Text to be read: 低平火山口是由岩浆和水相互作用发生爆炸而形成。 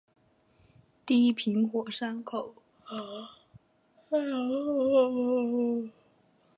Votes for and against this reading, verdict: 0, 4, rejected